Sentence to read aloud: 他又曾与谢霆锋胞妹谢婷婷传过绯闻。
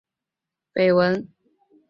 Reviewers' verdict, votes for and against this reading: rejected, 0, 2